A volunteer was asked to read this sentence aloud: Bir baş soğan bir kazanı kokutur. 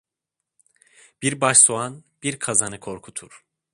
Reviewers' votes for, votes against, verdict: 1, 2, rejected